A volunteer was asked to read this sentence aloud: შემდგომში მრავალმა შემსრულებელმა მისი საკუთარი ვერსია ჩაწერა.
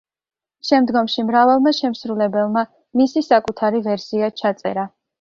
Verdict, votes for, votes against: accepted, 2, 0